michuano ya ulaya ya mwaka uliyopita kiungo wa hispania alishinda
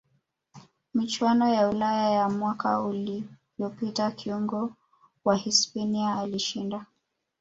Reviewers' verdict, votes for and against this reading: rejected, 0, 2